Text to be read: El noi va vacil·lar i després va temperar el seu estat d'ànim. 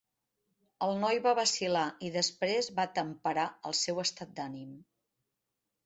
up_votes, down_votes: 3, 0